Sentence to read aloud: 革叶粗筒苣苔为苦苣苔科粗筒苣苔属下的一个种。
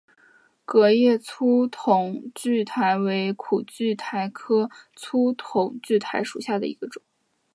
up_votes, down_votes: 3, 1